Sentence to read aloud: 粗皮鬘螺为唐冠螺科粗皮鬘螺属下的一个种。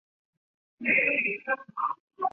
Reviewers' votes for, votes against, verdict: 0, 2, rejected